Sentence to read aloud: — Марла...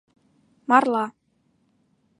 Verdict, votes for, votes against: accepted, 2, 0